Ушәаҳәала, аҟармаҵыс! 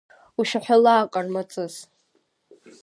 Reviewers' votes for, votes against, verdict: 2, 0, accepted